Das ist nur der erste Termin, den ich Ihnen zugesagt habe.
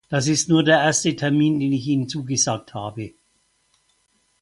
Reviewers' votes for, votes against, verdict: 4, 0, accepted